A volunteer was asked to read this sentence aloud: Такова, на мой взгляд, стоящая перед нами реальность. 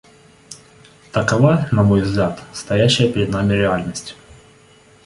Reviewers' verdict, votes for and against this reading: accepted, 2, 0